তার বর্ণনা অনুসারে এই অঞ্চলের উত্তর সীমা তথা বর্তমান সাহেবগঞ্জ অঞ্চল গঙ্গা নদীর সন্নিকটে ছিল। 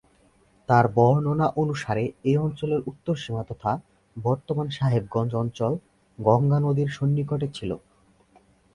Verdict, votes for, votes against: accepted, 4, 0